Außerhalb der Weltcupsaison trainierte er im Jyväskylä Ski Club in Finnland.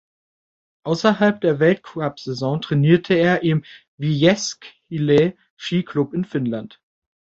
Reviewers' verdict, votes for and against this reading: rejected, 1, 2